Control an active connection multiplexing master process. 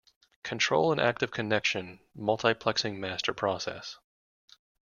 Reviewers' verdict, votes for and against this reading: accepted, 2, 0